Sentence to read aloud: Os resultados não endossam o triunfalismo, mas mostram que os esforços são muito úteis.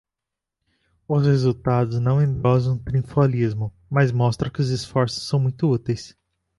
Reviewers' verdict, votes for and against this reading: rejected, 0, 2